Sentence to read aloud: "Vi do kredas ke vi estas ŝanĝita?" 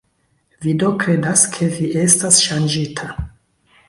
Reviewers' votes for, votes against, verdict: 0, 2, rejected